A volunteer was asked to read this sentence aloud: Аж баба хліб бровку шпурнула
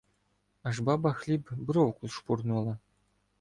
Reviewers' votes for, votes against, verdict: 0, 2, rejected